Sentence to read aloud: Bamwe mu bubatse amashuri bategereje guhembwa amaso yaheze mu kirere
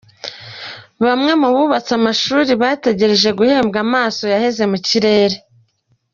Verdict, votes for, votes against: accepted, 2, 0